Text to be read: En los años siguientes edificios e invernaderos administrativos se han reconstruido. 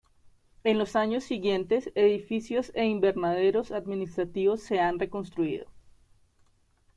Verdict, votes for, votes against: accepted, 2, 0